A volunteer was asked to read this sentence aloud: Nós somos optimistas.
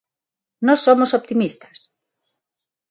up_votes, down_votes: 6, 0